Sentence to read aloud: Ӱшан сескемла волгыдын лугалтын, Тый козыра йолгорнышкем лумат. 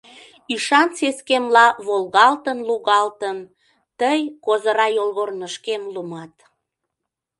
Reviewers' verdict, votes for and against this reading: rejected, 0, 2